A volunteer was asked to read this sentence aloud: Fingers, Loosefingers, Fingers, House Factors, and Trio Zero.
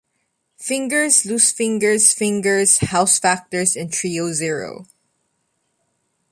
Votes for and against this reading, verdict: 2, 0, accepted